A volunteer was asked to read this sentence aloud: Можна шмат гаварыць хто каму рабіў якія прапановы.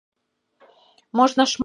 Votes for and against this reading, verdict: 0, 2, rejected